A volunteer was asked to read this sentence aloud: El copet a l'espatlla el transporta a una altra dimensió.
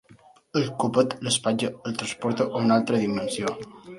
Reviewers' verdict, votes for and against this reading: rejected, 1, 2